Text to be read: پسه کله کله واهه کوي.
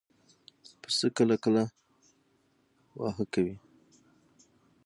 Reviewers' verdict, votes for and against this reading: rejected, 0, 3